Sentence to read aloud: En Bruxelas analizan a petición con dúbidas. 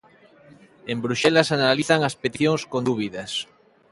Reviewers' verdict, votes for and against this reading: rejected, 0, 2